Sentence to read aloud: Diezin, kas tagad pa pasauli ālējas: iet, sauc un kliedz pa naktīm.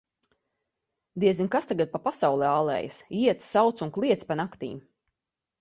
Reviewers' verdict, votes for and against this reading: accepted, 2, 0